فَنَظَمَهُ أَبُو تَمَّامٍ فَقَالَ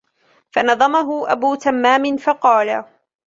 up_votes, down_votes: 2, 0